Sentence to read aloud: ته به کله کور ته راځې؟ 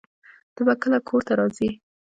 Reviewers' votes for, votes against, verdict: 2, 1, accepted